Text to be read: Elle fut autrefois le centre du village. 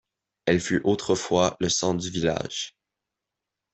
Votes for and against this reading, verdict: 2, 0, accepted